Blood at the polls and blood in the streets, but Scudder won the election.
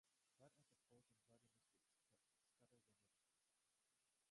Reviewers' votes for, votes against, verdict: 0, 2, rejected